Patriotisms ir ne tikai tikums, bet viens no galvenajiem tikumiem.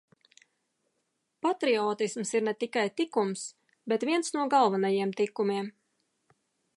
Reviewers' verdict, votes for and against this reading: accepted, 2, 0